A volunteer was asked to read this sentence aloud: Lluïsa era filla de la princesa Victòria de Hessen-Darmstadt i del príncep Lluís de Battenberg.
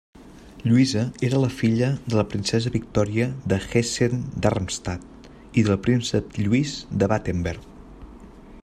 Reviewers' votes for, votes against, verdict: 3, 1, accepted